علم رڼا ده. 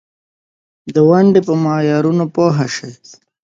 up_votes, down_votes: 1, 2